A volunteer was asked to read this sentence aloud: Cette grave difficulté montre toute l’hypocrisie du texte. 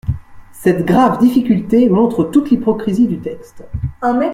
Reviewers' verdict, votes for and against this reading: rejected, 0, 3